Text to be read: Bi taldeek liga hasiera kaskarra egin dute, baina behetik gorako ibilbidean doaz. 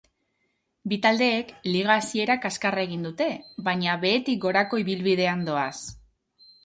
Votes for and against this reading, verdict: 2, 0, accepted